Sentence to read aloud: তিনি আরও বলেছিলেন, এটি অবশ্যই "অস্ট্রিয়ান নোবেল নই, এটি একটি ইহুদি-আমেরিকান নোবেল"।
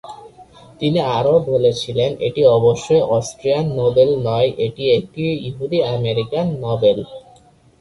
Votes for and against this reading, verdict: 2, 1, accepted